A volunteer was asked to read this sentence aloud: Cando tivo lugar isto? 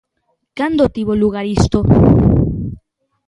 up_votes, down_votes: 2, 0